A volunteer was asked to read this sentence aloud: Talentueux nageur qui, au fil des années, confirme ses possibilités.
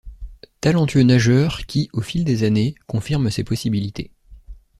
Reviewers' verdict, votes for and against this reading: accepted, 2, 0